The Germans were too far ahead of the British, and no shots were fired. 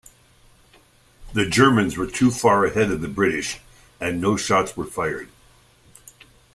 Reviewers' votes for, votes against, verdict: 2, 0, accepted